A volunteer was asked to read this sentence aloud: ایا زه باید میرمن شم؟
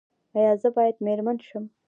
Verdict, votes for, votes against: accepted, 2, 0